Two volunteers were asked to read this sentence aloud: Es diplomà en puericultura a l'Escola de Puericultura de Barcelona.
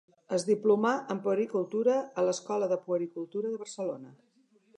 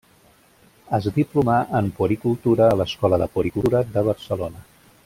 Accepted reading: first